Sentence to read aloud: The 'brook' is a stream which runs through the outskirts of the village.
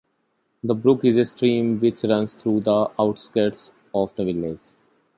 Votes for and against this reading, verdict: 2, 1, accepted